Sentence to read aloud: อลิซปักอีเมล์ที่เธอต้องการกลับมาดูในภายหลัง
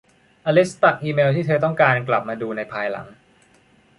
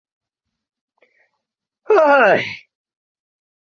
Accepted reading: first